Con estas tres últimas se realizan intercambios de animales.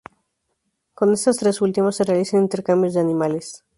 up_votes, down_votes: 2, 2